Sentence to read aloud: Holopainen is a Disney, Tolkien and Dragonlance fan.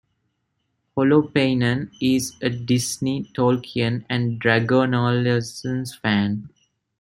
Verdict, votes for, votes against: rejected, 1, 2